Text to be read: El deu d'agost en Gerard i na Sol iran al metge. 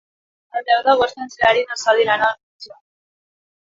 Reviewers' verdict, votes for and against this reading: rejected, 0, 3